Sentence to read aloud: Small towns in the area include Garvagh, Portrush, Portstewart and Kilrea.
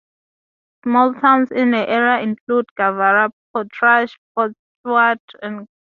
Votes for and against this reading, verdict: 0, 2, rejected